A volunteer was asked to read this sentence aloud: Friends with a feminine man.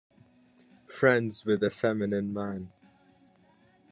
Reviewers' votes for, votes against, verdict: 2, 1, accepted